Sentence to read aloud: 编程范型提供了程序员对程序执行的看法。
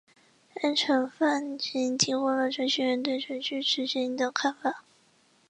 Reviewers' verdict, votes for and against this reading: accepted, 2, 1